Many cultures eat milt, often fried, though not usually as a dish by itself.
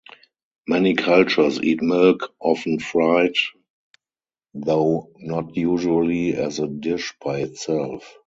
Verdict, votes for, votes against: rejected, 2, 2